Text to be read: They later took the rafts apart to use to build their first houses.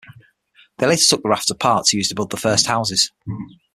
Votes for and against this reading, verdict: 6, 0, accepted